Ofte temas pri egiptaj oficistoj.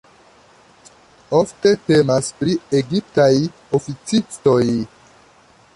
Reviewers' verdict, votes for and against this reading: accepted, 2, 0